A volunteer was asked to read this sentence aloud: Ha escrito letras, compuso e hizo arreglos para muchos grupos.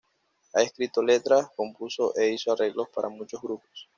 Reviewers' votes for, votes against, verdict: 2, 0, accepted